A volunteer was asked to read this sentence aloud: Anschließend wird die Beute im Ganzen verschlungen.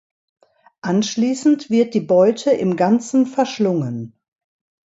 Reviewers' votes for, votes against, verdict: 2, 0, accepted